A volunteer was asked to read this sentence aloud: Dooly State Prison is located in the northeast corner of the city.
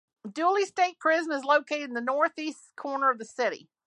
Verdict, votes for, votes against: accepted, 2, 0